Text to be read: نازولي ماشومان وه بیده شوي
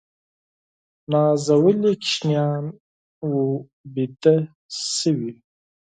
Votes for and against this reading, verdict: 2, 4, rejected